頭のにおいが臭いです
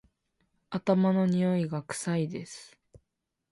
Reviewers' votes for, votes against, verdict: 2, 0, accepted